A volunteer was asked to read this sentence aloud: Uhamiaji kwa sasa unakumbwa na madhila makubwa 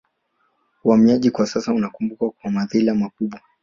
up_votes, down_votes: 1, 2